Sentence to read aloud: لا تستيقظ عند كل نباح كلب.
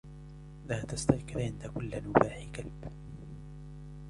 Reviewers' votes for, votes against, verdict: 2, 0, accepted